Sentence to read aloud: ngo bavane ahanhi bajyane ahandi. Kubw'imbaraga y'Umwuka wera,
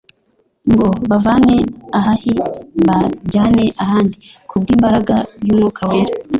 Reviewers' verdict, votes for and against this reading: rejected, 0, 2